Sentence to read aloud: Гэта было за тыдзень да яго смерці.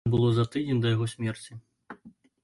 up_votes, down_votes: 0, 2